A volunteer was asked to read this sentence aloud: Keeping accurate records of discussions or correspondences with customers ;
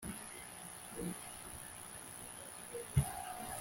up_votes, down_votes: 1, 2